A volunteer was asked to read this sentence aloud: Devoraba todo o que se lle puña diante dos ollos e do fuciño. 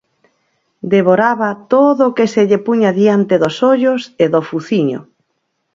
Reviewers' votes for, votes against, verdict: 4, 0, accepted